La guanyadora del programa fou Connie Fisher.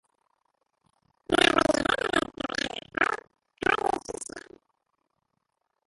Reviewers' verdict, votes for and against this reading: rejected, 0, 2